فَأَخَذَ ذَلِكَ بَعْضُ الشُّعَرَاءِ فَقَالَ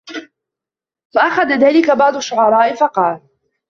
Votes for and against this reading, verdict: 2, 0, accepted